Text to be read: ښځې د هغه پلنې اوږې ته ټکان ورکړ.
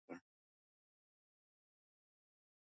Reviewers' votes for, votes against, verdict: 0, 2, rejected